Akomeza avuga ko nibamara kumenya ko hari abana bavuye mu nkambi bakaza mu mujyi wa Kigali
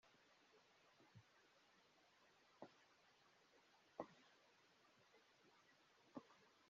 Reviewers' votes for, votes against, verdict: 0, 2, rejected